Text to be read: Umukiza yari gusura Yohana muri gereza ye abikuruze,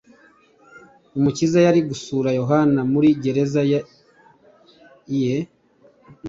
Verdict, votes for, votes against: rejected, 1, 2